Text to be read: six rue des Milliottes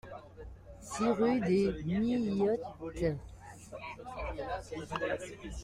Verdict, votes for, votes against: rejected, 1, 2